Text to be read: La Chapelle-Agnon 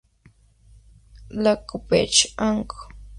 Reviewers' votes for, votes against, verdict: 0, 2, rejected